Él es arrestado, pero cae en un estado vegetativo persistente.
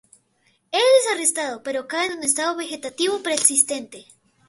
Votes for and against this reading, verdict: 2, 0, accepted